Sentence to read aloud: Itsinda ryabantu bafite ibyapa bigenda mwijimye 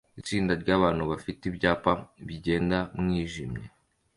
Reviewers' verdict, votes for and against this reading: accepted, 2, 0